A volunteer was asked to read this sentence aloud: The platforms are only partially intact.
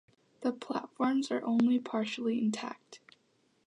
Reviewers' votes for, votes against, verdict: 2, 1, accepted